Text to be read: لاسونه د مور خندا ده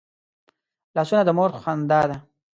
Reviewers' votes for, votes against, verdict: 2, 0, accepted